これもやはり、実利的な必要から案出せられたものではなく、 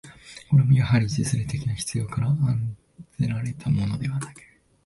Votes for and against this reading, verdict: 0, 3, rejected